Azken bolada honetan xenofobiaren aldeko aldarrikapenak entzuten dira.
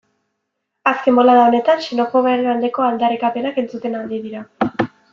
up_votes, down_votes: 0, 2